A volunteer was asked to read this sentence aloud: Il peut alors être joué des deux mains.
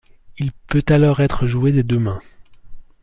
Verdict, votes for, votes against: accepted, 2, 0